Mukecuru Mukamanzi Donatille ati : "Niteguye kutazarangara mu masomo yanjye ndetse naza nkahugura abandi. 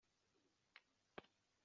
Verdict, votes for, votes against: rejected, 0, 2